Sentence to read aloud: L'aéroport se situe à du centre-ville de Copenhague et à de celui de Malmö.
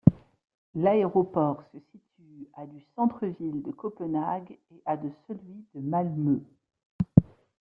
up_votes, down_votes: 0, 2